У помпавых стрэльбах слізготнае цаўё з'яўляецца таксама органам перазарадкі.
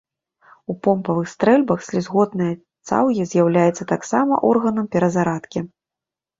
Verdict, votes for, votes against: rejected, 0, 2